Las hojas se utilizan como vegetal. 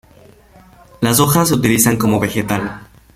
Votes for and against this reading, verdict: 1, 2, rejected